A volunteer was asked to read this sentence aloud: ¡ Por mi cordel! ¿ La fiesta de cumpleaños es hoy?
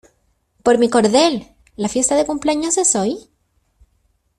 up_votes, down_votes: 2, 0